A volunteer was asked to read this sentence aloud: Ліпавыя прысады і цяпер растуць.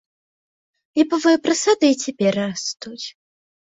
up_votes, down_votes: 2, 0